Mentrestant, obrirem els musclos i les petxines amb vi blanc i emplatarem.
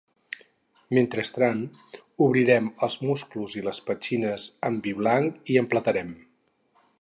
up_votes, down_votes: 2, 4